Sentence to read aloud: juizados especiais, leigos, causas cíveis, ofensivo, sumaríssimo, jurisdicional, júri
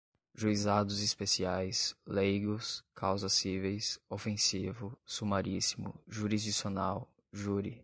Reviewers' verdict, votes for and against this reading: accepted, 2, 0